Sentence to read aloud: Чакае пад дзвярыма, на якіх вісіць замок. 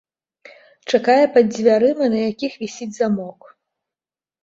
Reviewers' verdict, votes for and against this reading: accepted, 2, 0